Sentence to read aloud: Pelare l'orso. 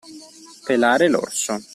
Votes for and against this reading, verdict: 2, 0, accepted